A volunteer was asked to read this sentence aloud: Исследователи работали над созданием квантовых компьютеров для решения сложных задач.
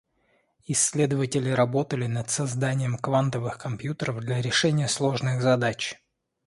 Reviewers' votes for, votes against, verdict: 2, 0, accepted